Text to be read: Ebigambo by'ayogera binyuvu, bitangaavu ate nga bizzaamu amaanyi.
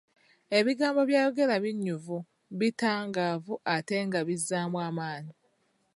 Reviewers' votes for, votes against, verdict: 0, 3, rejected